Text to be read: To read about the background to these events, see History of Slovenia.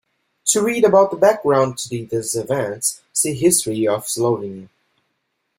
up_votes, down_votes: 1, 2